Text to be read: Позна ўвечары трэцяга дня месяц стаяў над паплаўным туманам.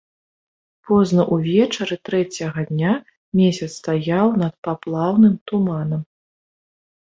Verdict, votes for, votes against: accepted, 2, 0